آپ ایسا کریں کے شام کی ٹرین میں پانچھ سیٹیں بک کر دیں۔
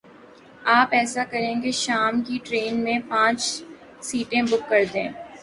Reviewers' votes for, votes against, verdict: 4, 0, accepted